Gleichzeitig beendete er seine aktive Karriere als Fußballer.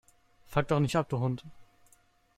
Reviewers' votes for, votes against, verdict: 0, 2, rejected